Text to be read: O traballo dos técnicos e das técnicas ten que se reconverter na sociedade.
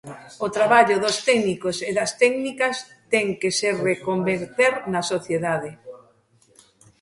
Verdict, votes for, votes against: accepted, 2, 1